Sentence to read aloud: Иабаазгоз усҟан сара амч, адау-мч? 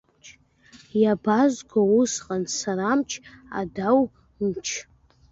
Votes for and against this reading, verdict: 1, 2, rejected